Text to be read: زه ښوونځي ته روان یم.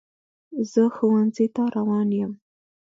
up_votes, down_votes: 2, 0